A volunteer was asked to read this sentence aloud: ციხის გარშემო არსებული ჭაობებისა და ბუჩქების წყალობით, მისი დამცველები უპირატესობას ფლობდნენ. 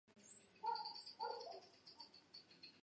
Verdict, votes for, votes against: rejected, 0, 2